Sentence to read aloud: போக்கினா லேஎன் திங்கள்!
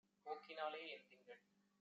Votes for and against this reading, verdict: 1, 3, rejected